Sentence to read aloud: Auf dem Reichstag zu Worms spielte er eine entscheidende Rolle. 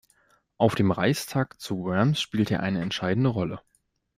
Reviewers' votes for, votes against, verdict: 1, 2, rejected